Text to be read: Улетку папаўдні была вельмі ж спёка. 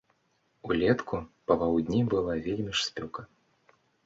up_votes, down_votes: 3, 0